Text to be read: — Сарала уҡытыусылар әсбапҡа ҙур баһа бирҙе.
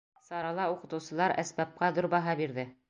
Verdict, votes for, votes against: accepted, 2, 0